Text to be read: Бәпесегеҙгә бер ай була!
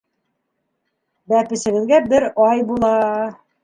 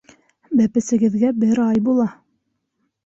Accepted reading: second